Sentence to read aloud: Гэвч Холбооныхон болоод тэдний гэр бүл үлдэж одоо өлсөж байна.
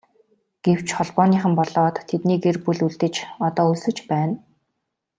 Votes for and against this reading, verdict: 2, 0, accepted